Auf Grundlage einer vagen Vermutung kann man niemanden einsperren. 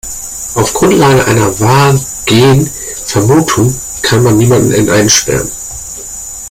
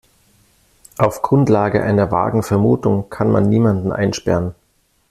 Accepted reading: second